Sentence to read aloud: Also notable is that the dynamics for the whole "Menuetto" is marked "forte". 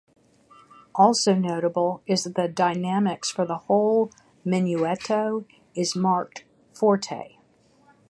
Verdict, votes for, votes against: accepted, 3, 0